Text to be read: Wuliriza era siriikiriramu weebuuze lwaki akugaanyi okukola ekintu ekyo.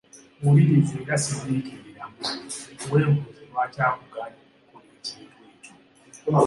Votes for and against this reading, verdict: 2, 0, accepted